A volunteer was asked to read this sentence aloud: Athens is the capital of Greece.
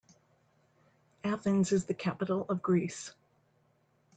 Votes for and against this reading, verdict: 3, 0, accepted